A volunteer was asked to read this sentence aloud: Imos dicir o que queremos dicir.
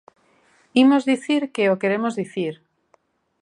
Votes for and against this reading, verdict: 0, 3, rejected